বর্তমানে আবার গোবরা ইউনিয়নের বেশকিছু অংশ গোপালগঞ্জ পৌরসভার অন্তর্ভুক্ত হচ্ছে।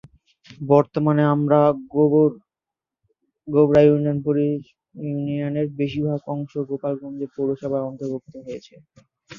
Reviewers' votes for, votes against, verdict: 0, 2, rejected